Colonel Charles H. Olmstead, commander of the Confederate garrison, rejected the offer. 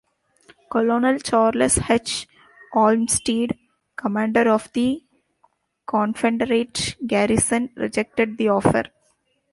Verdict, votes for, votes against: rejected, 0, 2